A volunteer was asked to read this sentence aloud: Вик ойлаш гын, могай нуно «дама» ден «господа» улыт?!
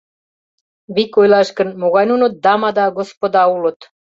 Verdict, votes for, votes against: rejected, 0, 2